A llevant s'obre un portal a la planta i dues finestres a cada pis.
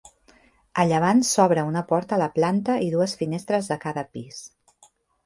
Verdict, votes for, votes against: rejected, 0, 2